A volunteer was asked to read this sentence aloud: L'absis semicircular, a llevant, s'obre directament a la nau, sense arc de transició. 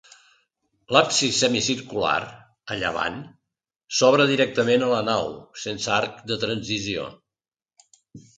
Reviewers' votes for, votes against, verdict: 2, 0, accepted